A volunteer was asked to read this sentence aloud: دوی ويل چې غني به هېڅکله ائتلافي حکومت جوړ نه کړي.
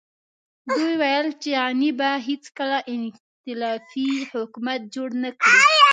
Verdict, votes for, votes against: rejected, 0, 2